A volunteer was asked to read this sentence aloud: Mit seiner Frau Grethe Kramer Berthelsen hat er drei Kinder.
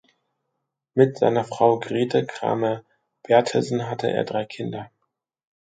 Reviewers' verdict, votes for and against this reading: rejected, 0, 2